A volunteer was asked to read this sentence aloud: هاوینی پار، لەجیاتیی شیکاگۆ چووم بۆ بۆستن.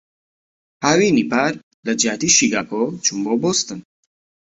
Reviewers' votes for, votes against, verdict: 2, 0, accepted